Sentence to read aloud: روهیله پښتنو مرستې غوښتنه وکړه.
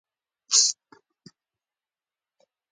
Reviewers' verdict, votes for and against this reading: accepted, 2, 1